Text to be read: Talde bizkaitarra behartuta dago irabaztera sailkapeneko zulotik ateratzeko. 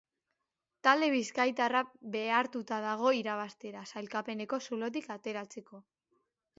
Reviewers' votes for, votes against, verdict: 2, 0, accepted